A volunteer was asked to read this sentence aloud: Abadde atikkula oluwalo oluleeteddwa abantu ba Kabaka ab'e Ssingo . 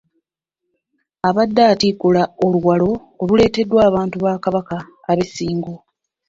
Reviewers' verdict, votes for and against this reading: rejected, 0, 2